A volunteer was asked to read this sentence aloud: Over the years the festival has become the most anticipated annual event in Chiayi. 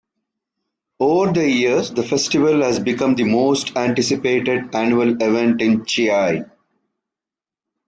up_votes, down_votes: 2, 0